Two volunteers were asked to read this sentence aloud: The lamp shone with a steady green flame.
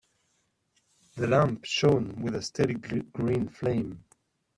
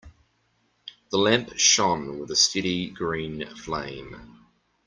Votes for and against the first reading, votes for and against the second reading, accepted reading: 0, 2, 2, 1, second